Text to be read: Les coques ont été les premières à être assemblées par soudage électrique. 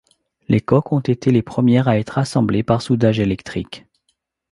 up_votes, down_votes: 2, 0